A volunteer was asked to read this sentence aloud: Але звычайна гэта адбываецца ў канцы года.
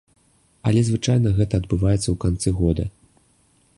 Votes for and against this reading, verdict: 2, 0, accepted